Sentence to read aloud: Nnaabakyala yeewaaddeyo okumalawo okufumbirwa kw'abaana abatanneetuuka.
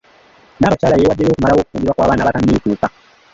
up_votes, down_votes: 0, 2